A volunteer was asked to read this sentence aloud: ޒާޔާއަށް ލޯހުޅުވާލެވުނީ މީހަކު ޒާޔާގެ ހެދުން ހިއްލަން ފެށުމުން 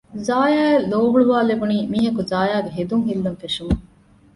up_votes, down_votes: 2, 0